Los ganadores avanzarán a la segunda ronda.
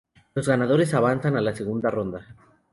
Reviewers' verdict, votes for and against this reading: rejected, 2, 2